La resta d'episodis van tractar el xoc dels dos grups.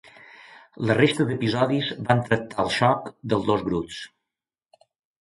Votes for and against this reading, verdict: 2, 0, accepted